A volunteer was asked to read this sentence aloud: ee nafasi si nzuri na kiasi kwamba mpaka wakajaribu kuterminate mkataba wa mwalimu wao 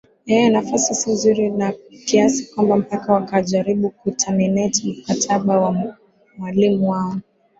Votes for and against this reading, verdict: 20, 3, accepted